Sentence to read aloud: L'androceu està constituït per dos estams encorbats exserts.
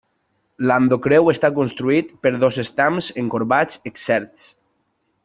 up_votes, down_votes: 1, 2